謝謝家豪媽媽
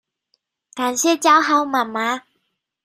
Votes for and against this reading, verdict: 0, 2, rejected